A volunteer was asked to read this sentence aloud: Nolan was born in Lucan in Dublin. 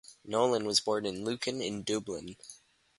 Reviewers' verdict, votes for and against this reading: accepted, 4, 0